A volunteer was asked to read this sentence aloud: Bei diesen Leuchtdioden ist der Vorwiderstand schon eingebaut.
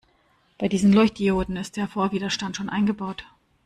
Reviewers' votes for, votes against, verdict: 0, 2, rejected